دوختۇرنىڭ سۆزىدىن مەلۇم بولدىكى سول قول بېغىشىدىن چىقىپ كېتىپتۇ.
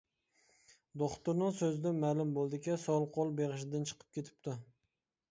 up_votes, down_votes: 2, 0